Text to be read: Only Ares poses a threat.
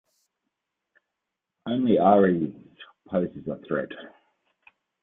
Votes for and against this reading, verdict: 1, 2, rejected